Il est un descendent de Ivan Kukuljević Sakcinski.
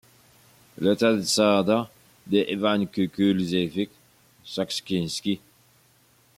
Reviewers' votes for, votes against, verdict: 1, 2, rejected